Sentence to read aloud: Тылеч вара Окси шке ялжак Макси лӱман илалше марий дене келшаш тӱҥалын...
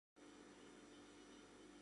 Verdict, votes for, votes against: rejected, 0, 2